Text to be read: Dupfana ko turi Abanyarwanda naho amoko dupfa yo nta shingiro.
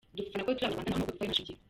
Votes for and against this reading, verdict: 0, 2, rejected